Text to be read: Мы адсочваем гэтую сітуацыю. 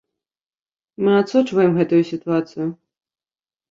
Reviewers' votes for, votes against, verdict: 2, 0, accepted